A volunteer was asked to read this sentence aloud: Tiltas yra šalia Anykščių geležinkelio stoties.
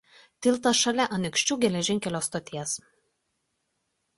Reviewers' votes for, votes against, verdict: 0, 2, rejected